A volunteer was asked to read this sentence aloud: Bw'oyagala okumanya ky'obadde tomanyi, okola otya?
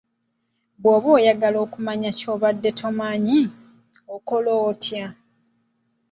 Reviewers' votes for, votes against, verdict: 3, 1, accepted